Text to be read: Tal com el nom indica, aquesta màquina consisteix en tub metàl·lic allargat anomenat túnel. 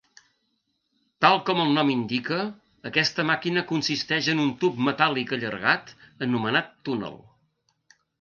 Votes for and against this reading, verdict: 1, 2, rejected